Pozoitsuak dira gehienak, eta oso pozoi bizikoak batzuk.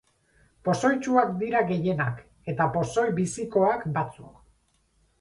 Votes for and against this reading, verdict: 2, 2, rejected